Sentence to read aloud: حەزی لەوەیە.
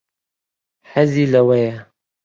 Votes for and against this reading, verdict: 2, 0, accepted